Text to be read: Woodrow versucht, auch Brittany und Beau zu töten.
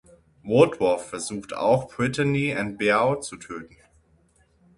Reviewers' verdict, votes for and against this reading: rejected, 0, 6